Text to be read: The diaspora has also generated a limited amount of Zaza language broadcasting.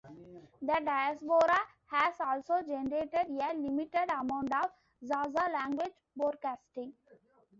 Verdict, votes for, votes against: rejected, 1, 2